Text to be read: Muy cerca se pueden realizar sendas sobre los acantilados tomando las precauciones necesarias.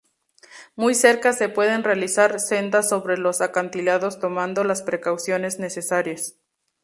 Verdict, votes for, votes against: accepted, 2, 0